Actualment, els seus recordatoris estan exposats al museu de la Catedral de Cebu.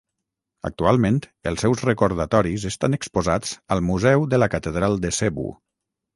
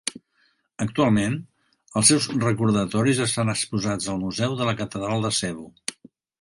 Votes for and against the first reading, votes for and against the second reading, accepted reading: 3, 3, 2, 1, second